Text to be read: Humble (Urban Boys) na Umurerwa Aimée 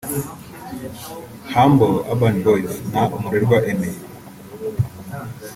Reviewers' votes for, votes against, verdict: 3, 1, accepted